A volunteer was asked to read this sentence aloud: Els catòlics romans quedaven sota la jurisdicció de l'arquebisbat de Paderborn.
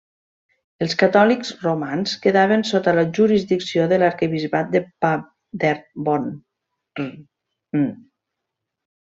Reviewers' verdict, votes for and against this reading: rejected, 0, 2